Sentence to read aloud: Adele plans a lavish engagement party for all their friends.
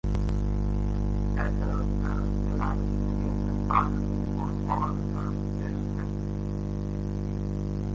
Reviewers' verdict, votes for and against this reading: rejected, 0, 2